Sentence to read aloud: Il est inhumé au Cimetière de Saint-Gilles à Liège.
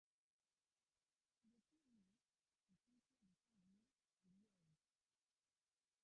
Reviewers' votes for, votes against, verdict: 0, 2, rejected